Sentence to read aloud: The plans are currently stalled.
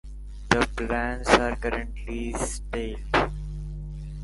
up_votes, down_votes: 0, 2